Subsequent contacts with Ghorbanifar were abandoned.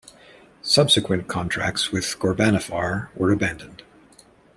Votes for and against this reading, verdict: 1, 2, rejected